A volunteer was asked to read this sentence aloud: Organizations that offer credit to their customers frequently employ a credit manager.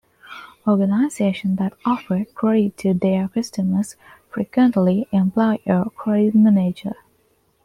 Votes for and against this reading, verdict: 1, 2, rejected